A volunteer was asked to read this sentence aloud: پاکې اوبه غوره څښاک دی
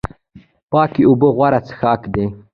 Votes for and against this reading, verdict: 0, 2, rejected